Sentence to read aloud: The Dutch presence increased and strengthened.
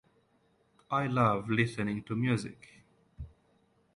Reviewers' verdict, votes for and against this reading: rejected, 0, 2